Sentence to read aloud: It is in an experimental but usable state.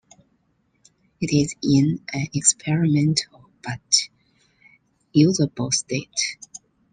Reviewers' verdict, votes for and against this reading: rejected, 1, 2